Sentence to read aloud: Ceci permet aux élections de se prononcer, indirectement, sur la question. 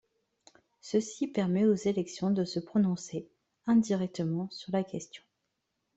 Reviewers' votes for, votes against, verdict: 2, 0, accepted